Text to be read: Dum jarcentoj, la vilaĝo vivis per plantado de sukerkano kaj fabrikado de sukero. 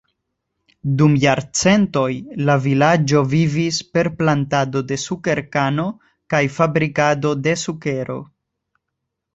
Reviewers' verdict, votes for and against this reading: accepted, 2, 0